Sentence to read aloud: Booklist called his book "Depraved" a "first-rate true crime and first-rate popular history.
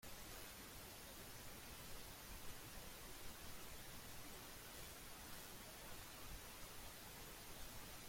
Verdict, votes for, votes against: rejected, 0, 2